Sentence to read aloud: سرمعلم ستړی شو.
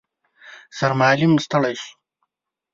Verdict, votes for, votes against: rejected, 1, 2